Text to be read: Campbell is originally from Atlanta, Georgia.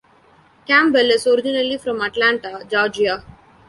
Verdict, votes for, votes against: rejected, 1, 2